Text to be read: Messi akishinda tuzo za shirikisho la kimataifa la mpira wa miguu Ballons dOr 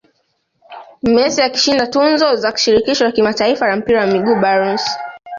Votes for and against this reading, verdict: 0, 2, rejected